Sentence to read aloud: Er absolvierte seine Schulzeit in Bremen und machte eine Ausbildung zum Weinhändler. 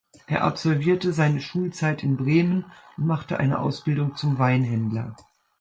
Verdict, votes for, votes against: accepted, 2, 0